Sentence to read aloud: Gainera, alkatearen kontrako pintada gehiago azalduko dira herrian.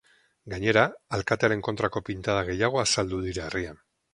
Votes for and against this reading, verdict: 2, 2, rejected